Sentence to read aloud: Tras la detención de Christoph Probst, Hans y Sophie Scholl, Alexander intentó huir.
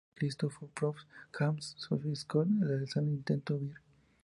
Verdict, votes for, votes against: rejected, 0, 2